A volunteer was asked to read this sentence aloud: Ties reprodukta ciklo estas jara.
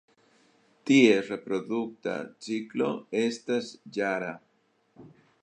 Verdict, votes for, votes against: rejected, 0, 2